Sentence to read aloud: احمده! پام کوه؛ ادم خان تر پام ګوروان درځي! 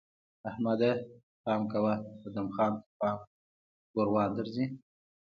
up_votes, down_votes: 2, 0